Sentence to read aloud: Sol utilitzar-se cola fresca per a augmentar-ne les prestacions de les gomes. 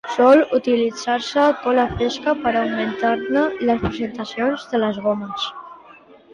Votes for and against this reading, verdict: 0, 3, rejected